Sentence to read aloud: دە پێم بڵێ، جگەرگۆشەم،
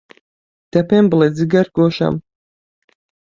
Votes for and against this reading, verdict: 2, 0, accepted